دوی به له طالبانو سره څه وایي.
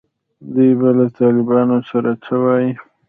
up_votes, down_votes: 0, 2